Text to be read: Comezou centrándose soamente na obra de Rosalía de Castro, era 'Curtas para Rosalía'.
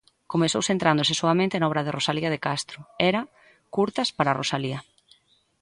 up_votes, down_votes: 2, 0